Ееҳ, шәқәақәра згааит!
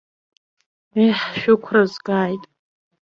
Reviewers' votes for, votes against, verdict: 1, 2, rejected